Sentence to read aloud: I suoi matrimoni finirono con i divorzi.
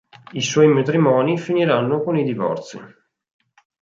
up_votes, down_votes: 0, 4